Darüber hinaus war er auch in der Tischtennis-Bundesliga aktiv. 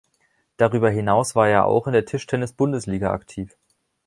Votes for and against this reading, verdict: 2, 0, accepted